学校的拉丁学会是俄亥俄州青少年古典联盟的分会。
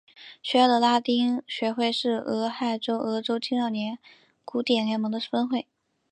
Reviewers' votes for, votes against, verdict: 3, 0, accepted